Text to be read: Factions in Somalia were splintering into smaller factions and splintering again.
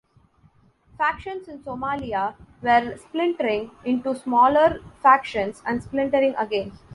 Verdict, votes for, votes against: accepted, 2, 0